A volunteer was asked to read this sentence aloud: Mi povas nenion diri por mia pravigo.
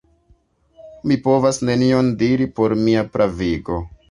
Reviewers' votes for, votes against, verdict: 2, 0, accepted